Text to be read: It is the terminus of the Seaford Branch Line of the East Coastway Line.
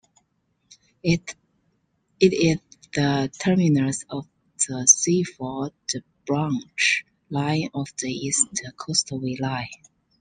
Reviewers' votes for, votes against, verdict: 0, 2, rejected